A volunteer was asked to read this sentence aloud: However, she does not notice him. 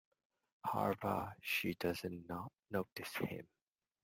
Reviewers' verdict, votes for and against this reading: rejected, 0, 2